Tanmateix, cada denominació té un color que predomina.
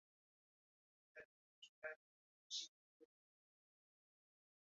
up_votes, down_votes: 0, 2